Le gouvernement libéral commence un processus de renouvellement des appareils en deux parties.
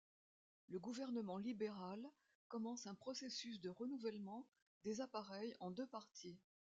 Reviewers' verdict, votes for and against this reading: accepted, 2, 0